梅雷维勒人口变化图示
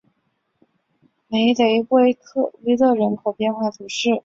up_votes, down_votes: 1, 2